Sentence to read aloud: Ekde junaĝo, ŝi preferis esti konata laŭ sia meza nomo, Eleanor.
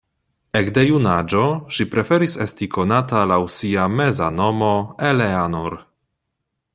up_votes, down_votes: 2, 0